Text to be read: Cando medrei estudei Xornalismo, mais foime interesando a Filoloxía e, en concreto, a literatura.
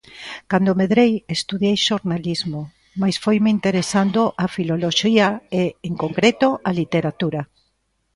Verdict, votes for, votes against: rejected, 1, 2